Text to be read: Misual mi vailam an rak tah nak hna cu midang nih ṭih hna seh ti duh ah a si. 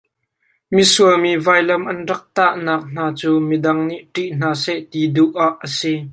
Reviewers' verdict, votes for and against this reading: accepted, 2, 1